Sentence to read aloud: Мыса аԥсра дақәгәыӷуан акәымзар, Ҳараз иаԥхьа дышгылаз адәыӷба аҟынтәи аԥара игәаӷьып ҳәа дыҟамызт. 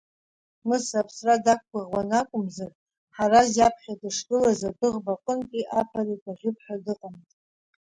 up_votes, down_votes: 2, 0